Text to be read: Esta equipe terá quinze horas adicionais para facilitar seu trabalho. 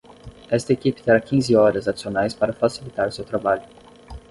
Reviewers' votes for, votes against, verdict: 10, 0, accepted